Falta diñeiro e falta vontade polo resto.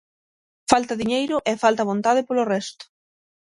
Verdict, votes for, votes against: accepted, 6, 0